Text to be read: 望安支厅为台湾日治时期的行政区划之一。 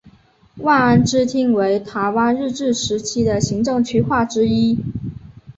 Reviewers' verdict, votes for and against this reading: accepted, 2, 0